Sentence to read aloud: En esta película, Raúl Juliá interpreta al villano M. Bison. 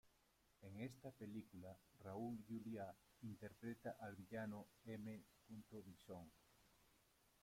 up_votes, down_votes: 0, 2